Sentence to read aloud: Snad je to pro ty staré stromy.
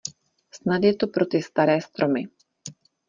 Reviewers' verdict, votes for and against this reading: accepted, 2, 0